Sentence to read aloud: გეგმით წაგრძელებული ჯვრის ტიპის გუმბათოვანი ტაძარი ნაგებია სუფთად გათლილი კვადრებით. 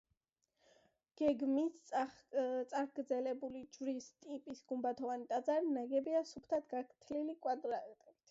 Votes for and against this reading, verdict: 1, 2, rejected